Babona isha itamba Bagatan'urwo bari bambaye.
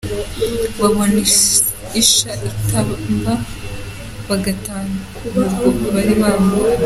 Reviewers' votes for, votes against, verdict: 1, 2, rejected